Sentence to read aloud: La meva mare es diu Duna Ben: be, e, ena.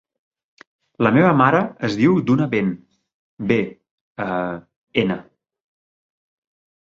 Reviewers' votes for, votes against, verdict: 0, 2, rejected